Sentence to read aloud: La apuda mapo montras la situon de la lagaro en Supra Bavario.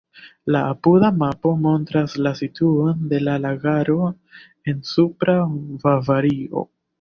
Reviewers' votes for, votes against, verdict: 2, 1, accepted